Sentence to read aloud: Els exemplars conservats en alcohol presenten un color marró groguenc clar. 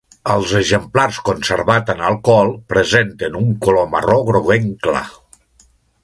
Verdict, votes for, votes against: rejected, 1, 2